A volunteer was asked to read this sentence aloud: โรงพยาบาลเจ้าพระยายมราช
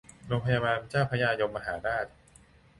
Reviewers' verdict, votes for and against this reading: rejected, 0, 2